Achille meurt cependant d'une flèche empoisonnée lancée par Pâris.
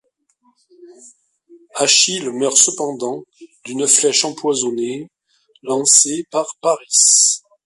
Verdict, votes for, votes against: accepted, 2, 0